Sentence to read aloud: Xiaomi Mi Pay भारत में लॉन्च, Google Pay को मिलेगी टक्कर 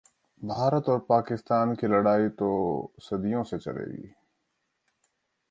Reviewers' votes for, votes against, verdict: 0, 2, rejected